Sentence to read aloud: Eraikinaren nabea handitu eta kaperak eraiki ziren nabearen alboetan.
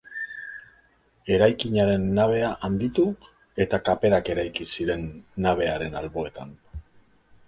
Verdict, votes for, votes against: accepted, 2, 0